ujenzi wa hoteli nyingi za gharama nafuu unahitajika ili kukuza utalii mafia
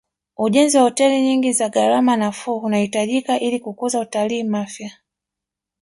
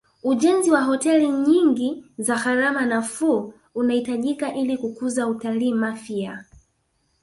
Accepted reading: first